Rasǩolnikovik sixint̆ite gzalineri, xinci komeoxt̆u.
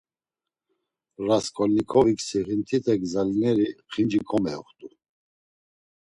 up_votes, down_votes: 2, 0